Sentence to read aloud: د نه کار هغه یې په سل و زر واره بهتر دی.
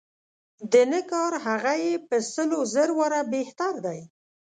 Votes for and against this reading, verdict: 2, 0, accepted